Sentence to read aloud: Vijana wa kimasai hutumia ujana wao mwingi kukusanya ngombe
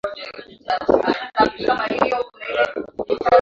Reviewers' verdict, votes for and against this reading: rejected, 0, 2